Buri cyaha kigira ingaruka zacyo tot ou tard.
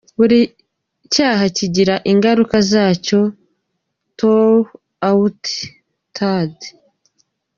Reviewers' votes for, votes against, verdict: 1, 2, rejected